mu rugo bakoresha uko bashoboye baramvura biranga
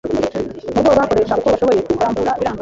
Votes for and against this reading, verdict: 1, 2, rejected